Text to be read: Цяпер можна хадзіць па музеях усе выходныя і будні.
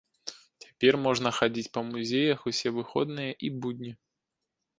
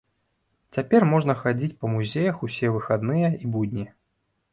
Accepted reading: first